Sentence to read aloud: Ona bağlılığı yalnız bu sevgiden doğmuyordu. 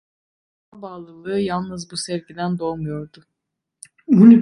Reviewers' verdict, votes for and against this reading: rejected, 1, 2